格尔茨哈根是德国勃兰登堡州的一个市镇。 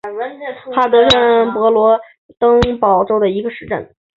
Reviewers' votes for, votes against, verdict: 0, 2, rejected